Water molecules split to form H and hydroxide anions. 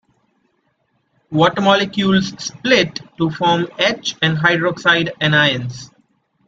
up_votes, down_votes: 2, 0